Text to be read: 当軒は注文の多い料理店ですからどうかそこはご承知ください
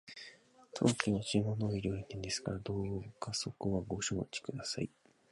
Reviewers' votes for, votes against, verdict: 0, 4, rejected